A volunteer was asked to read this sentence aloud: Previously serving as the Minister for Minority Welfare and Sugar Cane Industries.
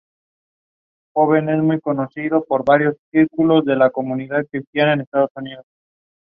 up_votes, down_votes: 0, 2